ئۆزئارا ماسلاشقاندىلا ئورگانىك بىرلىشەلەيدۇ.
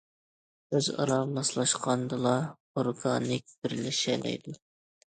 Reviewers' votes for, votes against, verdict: 2, 0, accepted